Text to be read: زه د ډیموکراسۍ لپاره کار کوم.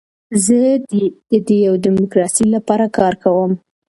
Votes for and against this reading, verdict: 1, 2, rejected